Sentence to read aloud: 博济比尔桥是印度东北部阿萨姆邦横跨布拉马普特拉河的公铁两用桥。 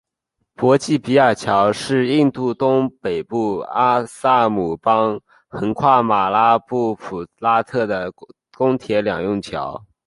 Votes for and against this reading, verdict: 2, 1, accepted